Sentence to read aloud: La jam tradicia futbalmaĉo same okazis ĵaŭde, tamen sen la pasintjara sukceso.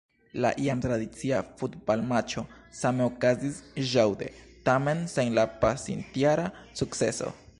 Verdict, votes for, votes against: rejected, 1, 2